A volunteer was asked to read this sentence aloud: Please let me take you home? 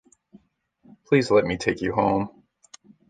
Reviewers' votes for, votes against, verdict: 2, 0, accepted